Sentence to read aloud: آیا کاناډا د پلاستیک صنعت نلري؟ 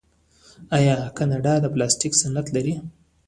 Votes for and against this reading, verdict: 0, 2, rejected